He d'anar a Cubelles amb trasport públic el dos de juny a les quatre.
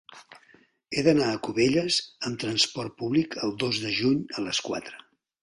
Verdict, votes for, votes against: accepted, 2, 0